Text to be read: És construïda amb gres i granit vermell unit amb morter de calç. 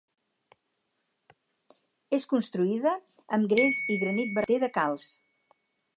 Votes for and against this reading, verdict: 2, 4, rejected